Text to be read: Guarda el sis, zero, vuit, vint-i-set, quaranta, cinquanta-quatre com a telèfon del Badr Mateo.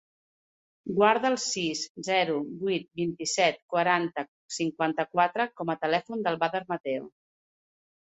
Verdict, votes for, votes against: accepted, 2, 0